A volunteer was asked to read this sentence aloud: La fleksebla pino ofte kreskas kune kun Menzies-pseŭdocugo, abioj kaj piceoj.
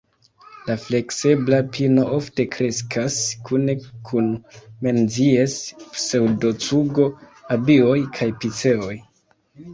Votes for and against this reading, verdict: 2, 1, accepted